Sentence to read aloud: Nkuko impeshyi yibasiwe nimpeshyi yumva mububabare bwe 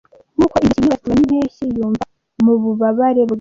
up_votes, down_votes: 0, 2